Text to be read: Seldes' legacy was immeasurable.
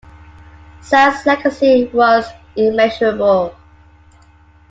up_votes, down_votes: 2, 0